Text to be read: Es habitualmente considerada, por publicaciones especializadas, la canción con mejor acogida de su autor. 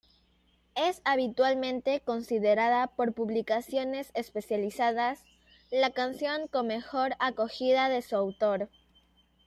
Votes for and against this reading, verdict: 2, 0, accepted